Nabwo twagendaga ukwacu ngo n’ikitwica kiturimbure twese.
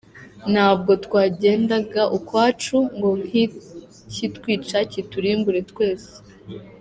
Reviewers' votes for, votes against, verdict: 0, 2, rejected